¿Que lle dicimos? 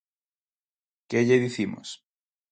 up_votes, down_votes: 4, 0